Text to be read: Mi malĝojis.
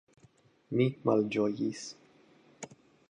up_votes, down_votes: 2, 0